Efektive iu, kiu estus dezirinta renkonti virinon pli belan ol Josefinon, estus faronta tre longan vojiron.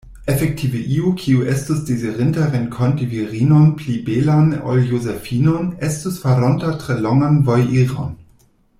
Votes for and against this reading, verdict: 2, 0, accepted